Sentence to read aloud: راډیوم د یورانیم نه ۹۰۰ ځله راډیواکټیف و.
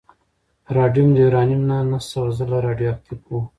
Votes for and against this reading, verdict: 0, 2, rejected